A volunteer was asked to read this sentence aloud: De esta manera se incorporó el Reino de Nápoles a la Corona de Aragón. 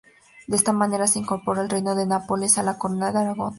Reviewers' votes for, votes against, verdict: 0, 2, rejected